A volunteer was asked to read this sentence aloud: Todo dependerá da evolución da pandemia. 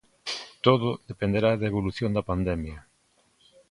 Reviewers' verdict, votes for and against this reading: accepted, 2, 0